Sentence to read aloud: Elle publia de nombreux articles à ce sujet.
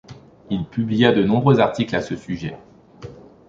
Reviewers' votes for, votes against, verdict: 0, 3, rejected